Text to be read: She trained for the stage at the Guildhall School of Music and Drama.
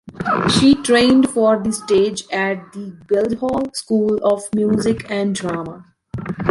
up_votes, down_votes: 3, 1